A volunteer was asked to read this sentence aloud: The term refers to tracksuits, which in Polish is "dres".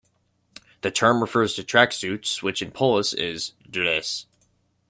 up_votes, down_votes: 2, 1